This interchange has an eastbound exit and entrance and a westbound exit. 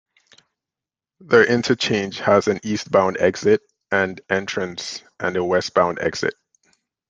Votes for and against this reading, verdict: 1, 2, rejected